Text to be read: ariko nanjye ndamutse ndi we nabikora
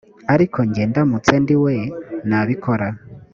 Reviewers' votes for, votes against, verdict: 1, 2, rejected